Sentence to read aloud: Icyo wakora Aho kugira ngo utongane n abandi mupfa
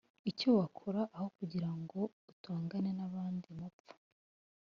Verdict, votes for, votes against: accepted, 2, 0